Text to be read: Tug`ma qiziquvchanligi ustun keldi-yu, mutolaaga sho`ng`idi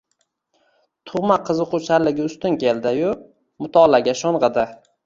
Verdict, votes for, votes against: accepted, 2, 0